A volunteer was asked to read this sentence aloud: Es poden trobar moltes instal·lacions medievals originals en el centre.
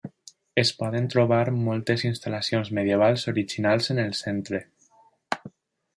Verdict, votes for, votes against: accepted, 3, 0